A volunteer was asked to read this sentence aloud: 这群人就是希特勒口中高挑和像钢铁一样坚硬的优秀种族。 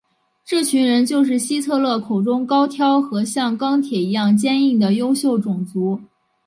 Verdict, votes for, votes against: accepted, 5, 0